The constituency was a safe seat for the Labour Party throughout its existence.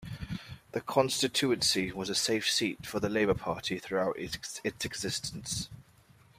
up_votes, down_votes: 1, 2